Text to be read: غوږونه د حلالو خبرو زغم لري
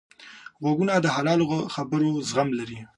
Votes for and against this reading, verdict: 3, 0, accepted